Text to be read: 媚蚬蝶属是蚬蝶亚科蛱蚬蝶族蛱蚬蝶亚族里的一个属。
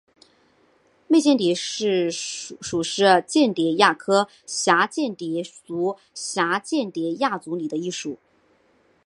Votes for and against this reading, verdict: 2, 1, accepted